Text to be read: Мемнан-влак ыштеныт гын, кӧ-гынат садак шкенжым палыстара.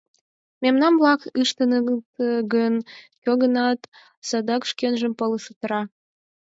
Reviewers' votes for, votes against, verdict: 0, 4, rejected